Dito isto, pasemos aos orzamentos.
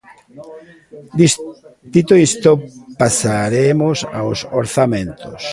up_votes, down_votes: 0, 2